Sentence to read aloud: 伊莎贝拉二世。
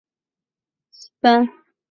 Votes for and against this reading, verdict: 0, 3, rejected